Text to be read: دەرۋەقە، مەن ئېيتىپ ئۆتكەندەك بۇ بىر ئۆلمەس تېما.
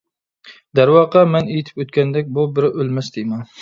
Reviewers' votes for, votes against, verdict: 2, 0, accepted